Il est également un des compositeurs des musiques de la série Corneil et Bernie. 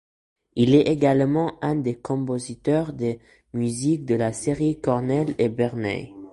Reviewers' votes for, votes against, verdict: 0, 2, rejected